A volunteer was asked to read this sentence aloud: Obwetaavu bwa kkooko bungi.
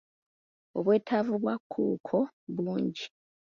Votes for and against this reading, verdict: 1, 2, rejected